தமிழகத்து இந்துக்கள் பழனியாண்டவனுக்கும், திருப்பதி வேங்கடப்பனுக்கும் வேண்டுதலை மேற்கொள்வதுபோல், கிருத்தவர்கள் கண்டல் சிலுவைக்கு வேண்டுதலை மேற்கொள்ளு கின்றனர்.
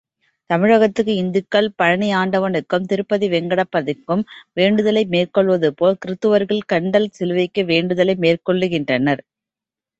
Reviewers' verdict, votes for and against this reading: rejected, 1, 2